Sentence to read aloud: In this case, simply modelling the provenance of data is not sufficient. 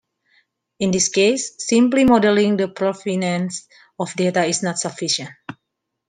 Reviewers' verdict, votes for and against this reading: accepted, 2, 1